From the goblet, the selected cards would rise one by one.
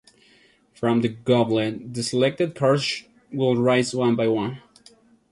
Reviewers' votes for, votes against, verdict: 0, 2, rejected